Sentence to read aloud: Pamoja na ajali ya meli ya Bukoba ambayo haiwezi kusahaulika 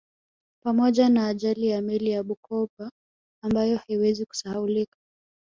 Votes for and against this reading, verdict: 2, 0, accepted